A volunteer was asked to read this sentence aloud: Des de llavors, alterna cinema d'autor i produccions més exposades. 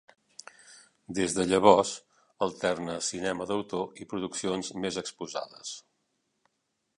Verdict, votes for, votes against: accepted, 3, 0